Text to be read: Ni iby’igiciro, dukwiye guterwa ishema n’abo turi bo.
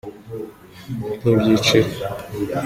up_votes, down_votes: 0, 2